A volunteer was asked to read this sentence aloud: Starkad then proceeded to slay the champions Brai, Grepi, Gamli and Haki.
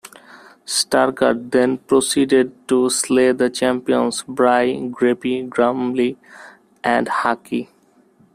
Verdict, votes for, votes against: rejected, 0, 2